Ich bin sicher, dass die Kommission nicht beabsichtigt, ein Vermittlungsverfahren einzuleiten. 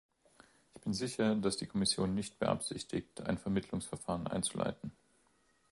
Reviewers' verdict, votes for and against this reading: rejected, 0, 2